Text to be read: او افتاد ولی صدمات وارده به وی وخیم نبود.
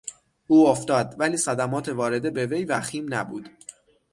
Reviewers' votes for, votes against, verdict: 6, 0, accepted